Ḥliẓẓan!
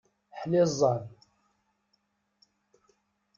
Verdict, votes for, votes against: accepted, 2, 0